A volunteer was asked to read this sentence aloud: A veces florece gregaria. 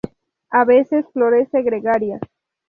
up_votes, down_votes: 2, 0